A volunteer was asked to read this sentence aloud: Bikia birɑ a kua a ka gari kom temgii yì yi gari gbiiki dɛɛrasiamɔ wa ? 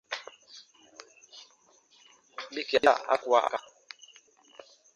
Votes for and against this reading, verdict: 0, 2, rejected